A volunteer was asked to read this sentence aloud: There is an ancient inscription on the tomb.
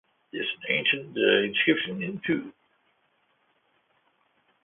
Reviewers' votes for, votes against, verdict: 1, 2, rejected